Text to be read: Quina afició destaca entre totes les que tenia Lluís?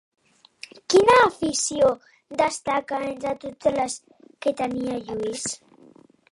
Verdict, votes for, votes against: rejected, 1, 2